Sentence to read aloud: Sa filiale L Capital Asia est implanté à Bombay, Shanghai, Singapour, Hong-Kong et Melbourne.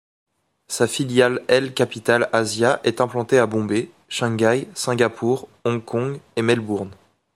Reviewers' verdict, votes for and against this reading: accepted, 2, 1